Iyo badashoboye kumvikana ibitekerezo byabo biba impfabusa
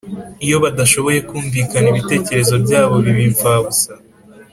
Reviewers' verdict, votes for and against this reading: accepted, 2, 0